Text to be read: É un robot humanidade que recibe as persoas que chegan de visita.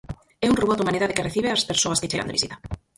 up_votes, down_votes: 0, 4